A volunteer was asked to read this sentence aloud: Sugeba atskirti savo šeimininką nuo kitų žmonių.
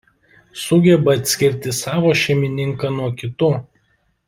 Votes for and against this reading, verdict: 0, 2, rejected